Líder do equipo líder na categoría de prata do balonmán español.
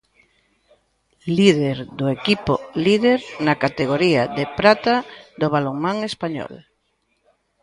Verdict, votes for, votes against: rejected, 0, 2